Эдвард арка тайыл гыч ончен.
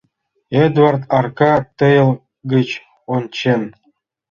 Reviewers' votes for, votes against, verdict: 1, 2, rejected